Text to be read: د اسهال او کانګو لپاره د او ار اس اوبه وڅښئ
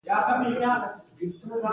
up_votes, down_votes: 3, 1